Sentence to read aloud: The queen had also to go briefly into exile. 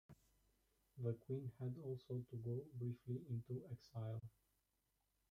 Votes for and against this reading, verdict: 2, 1, accepted